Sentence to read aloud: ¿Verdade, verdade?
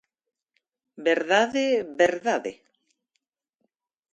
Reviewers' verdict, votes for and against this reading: accepted, 2, 0